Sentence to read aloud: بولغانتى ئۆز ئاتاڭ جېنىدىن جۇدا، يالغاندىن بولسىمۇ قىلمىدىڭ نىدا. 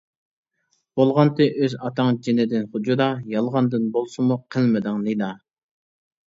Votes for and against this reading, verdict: 1, 2, rejected